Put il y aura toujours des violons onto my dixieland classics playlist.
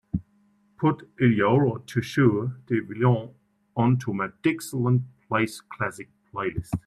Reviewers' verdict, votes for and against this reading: rejected, 1, 2